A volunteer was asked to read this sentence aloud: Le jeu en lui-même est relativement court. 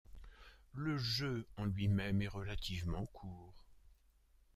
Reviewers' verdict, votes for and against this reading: accepted, 2, 0